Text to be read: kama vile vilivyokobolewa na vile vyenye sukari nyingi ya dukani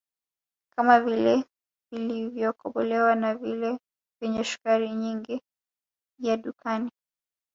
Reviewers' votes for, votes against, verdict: 1, 2, rejected